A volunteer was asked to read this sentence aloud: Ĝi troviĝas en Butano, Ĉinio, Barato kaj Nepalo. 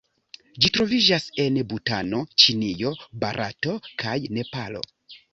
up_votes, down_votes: 2, 0